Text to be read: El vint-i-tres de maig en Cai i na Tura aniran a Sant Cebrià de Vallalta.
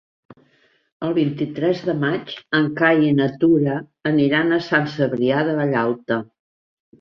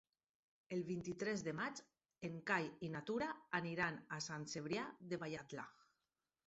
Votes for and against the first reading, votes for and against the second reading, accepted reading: 3, 0, 0, 4, first